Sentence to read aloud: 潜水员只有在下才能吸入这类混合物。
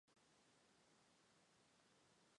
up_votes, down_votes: 1, 2